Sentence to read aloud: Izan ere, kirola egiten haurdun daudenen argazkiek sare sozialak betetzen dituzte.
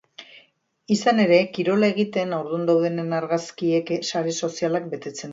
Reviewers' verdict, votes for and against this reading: rejected, 0, 2